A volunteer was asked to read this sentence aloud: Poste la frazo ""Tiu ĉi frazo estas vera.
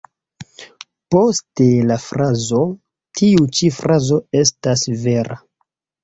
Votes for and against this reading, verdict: 2, 0, accepted